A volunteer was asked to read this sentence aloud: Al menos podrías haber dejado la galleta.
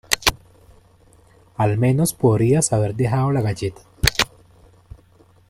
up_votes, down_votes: 0, 2